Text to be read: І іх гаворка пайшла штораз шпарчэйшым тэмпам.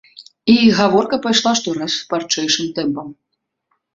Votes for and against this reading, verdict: 2, 1, accepted